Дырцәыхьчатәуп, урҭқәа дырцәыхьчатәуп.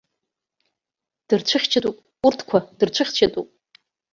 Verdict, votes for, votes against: accepted, 2, 0